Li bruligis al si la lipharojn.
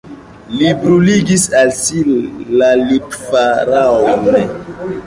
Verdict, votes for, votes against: rejected, 1, 2